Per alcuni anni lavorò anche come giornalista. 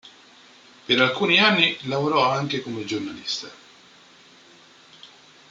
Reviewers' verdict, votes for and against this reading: accepted, 2, 0